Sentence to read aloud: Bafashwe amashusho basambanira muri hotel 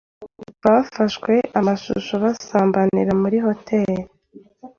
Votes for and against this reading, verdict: 2, 0, accepted